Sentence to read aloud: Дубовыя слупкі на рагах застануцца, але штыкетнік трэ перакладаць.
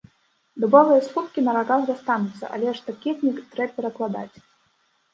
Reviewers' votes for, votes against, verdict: 0, 2, rejected